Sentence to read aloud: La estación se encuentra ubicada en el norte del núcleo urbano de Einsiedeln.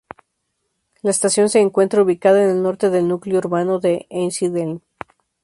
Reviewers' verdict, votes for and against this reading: accepted, 2, 0